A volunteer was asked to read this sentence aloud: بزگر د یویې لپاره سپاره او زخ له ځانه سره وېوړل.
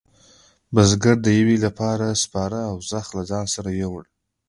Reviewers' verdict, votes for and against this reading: accepted, 2, 1